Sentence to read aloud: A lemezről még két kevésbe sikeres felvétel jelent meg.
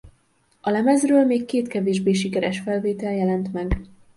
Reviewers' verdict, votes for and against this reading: rejected, 1, 2